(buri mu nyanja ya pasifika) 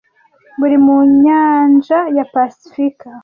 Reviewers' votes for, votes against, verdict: 2, 0, accepted